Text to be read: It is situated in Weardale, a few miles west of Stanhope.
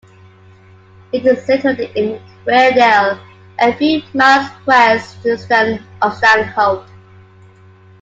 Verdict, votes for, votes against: rejected, 1, 2